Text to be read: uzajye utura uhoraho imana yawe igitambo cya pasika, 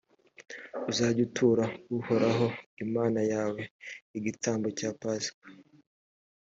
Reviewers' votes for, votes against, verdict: 3, 0, accepted